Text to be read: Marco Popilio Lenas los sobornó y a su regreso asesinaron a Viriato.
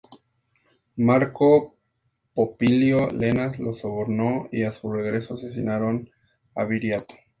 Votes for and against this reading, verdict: 4, 0, accepted